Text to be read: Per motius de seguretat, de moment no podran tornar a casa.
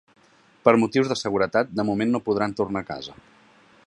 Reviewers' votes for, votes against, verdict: 3, 0, accepted